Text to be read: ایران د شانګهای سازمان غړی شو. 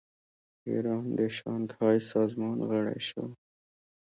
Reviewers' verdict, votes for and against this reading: accepted, 2, 1